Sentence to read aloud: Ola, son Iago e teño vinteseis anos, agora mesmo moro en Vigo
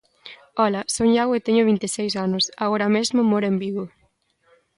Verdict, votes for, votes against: accepted, 2, 1